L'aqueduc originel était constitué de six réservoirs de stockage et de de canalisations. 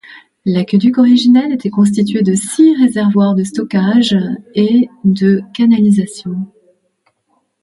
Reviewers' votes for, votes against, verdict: 0, 2, rejected